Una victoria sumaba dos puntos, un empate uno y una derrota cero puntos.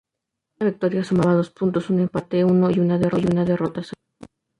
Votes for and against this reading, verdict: 0, 2, rejected